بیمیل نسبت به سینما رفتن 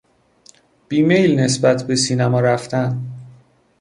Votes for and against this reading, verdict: 2, 1, accepted